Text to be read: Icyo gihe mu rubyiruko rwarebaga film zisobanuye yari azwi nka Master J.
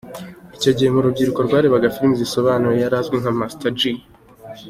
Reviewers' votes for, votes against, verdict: 2, 0, accepted